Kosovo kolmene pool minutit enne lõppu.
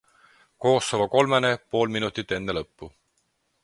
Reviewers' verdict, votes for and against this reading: accepted, 4, 0